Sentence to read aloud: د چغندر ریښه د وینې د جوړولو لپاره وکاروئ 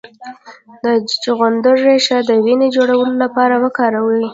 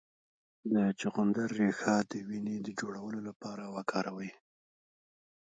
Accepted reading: second